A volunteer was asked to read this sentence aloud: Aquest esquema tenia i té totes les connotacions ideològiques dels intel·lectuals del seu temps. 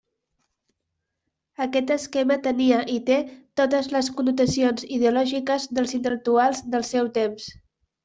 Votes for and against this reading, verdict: 3, 0, accepted